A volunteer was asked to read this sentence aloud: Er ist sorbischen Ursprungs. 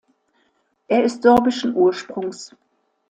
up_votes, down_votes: 2, 0